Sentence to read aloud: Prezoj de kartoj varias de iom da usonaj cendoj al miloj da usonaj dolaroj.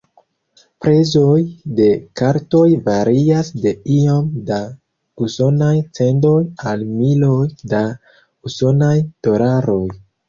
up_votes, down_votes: 0, 2